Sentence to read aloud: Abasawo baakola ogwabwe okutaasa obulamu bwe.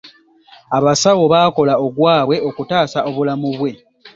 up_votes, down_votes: 3, 0